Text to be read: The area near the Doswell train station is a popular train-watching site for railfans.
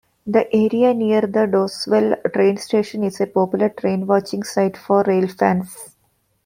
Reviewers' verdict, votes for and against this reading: accepted, 2, 0